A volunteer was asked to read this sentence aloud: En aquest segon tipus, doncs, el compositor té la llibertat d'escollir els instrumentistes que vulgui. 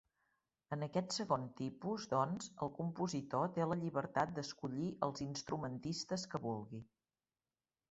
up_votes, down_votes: 0, 2